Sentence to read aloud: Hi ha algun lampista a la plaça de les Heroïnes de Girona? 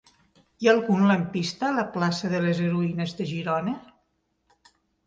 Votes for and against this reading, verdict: 4, 0, accepted